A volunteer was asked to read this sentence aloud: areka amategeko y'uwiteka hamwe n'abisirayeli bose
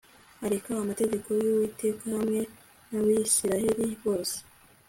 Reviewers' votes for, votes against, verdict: 2, 0, accepted